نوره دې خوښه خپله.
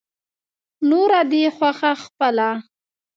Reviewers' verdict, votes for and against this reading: accepted, 2, 0